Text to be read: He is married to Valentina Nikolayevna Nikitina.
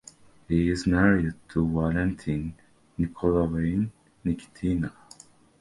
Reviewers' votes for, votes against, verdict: 0, 2, rejected